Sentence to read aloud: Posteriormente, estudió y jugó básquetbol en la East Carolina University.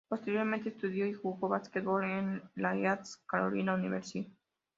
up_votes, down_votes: 2, 0